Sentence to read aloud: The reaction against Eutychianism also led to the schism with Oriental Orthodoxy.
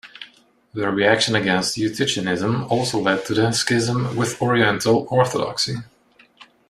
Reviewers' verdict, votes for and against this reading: accepted, 2, 0